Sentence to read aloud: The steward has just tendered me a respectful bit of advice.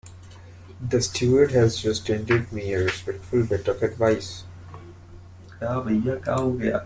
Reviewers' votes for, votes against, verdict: 1, 2, rejected